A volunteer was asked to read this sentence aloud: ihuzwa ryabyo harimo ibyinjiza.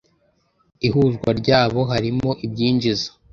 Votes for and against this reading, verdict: 0, 2, rejected